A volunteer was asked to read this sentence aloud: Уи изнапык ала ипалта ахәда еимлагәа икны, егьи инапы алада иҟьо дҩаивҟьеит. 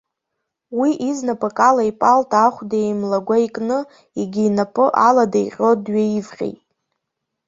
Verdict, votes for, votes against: accepted, 2, 0